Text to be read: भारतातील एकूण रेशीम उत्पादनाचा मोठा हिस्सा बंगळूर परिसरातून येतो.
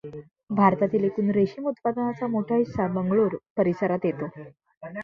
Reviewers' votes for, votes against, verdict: 0, 2, rejected